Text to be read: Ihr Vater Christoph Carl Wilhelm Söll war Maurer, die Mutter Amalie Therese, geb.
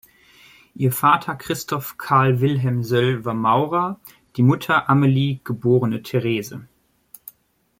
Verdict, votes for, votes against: rejected, 0, 2